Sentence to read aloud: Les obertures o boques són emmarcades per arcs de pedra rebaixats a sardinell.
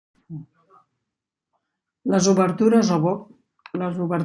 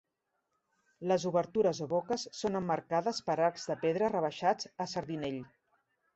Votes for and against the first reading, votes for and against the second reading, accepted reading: 0, 2, 3, 0, second